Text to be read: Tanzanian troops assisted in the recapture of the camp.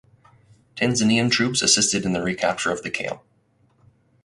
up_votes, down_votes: 4, 0